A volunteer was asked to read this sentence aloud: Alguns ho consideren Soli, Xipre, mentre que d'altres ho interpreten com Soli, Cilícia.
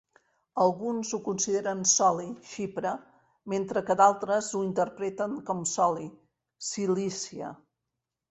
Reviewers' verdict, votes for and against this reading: accepted, 4, 0